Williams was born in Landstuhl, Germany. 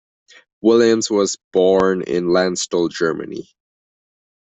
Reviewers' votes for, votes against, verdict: 2, 1, accepted